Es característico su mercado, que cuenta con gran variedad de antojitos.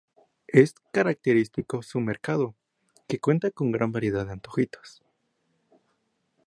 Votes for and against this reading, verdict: 2, 0, accepted